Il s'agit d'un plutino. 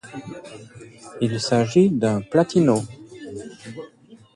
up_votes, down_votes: 2, 0